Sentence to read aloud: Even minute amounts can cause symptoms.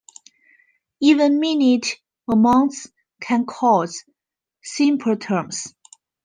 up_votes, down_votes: 0, 2